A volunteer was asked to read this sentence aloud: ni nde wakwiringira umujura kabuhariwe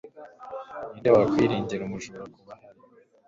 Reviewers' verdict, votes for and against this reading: rejected, 1, 2